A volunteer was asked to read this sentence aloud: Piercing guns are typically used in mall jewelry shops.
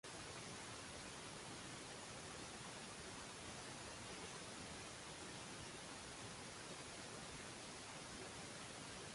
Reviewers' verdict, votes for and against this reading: rejected, 0, 2